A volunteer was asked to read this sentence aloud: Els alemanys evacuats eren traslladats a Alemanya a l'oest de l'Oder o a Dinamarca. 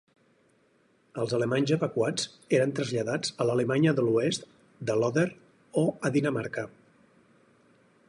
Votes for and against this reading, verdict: 0, 4, rejected